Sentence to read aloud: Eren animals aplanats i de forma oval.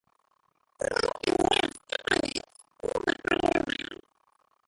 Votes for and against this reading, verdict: 0, 2, rejected